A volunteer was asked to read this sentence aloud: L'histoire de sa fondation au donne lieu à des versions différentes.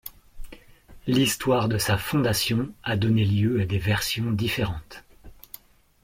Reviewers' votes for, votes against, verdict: 1, 2, rejected